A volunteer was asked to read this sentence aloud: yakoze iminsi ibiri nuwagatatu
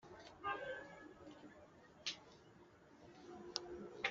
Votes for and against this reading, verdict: 1, 2, rejected